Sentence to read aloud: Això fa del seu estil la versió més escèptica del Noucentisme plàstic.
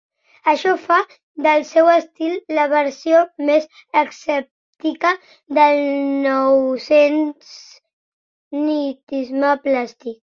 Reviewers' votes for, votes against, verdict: 1, 2, rejected